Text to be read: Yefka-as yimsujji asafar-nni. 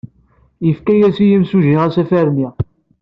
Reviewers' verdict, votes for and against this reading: accepted, 2, 0